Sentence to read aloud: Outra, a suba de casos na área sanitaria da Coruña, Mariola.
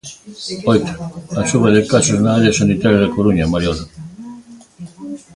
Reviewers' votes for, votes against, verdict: 1, 2, rejected